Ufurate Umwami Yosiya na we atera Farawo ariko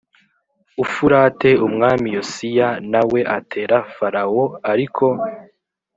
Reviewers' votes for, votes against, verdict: 2, 0, accepted